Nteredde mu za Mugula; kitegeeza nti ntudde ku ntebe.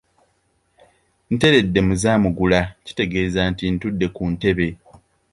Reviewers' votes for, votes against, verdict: 2, 1, accepted